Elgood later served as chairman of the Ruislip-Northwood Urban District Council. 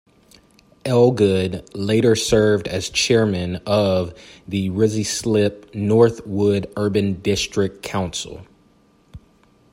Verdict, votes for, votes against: accepted, 2, 0